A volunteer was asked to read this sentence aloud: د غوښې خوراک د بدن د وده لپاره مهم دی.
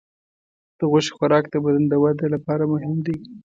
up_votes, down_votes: 2, 0